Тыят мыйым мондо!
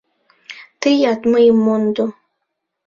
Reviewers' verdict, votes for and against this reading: accepted, 2, 0